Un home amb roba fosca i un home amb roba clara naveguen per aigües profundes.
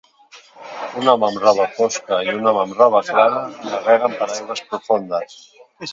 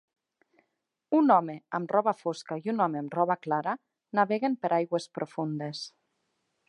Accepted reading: second